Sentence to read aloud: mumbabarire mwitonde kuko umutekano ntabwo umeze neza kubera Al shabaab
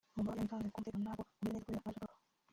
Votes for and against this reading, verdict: 0, 2, rejected